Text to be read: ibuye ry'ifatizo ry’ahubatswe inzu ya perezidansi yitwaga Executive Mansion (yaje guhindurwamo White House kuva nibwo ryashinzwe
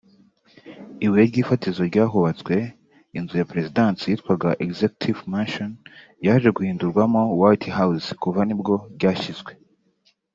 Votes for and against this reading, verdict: 2, 0, accepted